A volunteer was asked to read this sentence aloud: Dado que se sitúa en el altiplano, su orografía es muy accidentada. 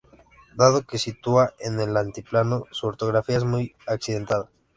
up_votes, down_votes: 0, 2